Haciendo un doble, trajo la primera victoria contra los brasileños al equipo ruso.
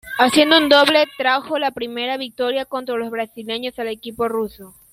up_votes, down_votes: 1, 2